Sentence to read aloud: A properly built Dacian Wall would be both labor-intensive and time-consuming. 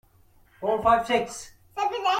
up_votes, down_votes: 0, 2